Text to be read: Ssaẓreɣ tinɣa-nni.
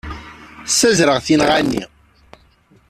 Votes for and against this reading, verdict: 0, 2, rejected